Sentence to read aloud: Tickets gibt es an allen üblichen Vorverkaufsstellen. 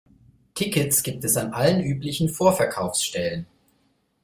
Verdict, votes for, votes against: accepted, 2, 0